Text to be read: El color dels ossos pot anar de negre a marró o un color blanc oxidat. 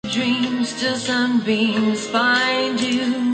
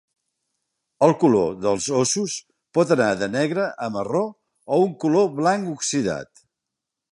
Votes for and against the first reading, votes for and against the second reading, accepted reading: 0, 2, 4, 0, second